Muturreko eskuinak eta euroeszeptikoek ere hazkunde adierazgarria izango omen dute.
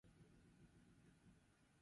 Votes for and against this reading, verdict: 0, 4, rejected